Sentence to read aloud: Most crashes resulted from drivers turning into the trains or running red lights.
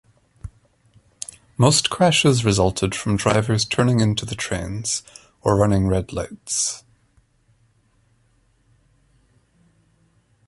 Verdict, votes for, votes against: accepted, 2, 0